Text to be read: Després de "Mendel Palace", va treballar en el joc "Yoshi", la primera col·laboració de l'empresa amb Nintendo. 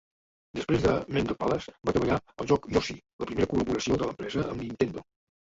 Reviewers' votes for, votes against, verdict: 0, 2, rejected